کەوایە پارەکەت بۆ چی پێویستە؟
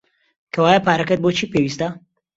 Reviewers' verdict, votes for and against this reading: accepted, 2, 0